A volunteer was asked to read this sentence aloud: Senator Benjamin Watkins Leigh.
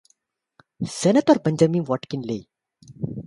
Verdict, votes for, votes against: accepted, 2, 0